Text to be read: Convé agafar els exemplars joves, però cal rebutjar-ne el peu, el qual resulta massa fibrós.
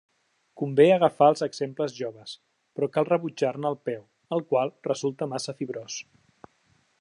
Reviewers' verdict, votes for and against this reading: rejected, 1, 2